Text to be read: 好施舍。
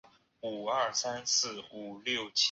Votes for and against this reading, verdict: 0, 2, rejected